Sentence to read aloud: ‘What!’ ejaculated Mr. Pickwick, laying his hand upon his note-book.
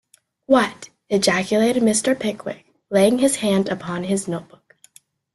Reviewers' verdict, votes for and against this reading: accepted, 2, 0